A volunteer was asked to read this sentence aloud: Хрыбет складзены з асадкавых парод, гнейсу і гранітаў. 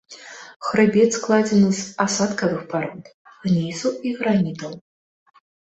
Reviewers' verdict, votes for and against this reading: accepted, 2, 0